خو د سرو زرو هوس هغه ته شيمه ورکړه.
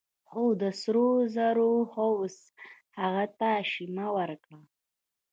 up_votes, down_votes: 1, 2